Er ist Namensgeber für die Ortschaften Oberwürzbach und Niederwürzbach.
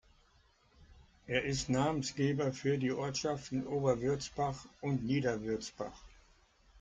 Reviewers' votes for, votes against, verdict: 2, 0, accepted